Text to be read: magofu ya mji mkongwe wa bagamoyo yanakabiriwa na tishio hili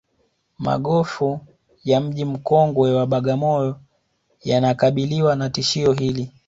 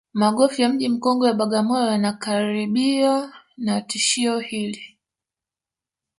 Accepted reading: first